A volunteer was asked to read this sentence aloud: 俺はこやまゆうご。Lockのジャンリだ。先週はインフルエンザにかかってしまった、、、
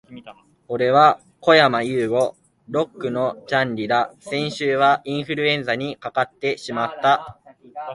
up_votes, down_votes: 3, 0